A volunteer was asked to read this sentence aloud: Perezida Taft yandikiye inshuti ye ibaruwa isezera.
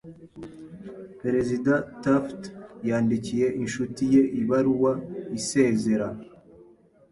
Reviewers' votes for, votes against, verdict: 2, 0, accepted